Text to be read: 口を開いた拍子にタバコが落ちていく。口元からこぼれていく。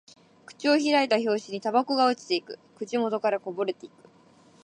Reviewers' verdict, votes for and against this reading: accepted, 2, 1